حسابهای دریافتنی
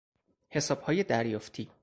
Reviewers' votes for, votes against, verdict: 0, 4, rejected